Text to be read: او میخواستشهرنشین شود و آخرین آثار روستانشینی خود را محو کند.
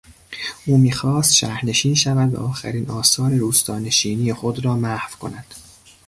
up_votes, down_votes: 2, 0